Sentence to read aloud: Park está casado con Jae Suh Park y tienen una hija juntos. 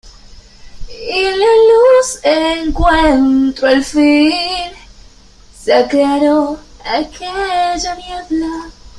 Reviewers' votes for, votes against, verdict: 0, 2, rejected